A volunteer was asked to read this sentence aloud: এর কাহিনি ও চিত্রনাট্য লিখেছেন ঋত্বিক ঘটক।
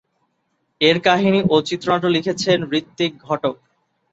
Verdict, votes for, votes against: accepted, 2, 0